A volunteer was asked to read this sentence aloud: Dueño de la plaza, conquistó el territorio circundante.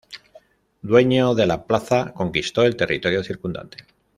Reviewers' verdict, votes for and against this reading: accepted, 2, 0